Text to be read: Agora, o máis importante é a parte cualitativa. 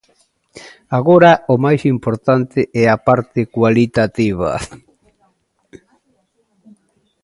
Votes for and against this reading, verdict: 2, 1, accepted